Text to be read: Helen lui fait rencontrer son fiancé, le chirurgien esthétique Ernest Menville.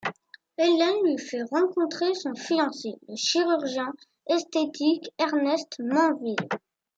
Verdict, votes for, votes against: rejected, 1, 2